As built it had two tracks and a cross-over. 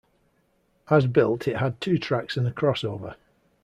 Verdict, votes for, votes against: accepted, 2, 0